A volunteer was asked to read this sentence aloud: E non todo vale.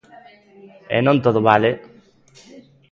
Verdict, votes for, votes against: accepted, 2, 0